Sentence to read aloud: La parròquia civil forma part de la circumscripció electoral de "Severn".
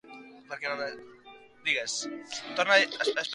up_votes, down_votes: 0, 2